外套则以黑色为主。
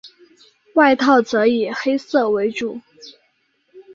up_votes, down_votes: 2, 0